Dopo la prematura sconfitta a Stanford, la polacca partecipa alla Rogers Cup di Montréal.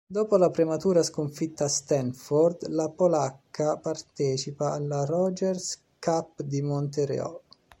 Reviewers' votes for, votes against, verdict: 1, 2, rejected